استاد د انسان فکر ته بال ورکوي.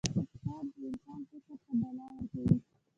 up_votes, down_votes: 1, 2